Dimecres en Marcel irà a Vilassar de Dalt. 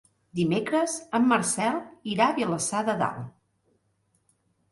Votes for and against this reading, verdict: 3, 0, accepted